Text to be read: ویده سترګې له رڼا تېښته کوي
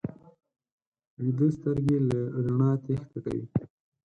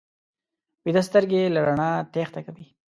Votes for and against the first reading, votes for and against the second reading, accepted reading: 2, 6, 2, 0, second